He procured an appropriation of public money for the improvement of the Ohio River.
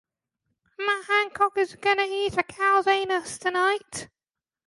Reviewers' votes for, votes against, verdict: 0, 2, rejected